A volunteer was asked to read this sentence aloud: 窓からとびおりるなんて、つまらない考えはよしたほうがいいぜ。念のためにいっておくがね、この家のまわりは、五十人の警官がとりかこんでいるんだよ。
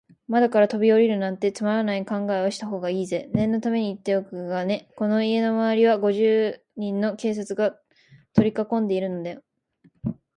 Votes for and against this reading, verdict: 0, 2, rejected